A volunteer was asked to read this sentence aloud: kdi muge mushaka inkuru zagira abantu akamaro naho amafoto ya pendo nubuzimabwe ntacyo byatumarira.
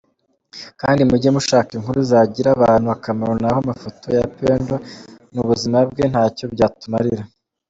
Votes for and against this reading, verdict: 2, 0, accepted